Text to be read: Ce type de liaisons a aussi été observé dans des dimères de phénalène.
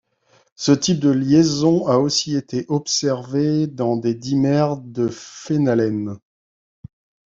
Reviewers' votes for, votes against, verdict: 1, 2, rejected